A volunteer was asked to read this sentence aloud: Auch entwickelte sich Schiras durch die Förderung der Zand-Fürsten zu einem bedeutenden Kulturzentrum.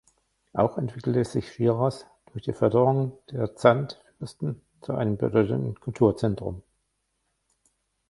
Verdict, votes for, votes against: rejected, 1, 2